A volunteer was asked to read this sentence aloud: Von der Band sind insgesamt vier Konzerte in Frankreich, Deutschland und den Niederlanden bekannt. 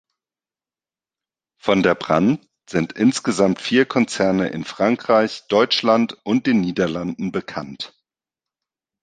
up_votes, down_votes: 0, 2